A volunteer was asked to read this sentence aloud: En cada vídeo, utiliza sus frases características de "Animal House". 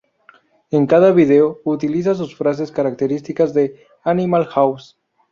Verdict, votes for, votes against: rejected, 0, 2